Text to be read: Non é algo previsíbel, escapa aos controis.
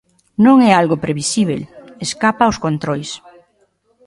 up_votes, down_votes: 2, 0